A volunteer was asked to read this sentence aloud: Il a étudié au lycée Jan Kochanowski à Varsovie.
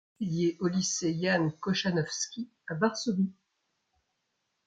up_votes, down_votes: 0, 2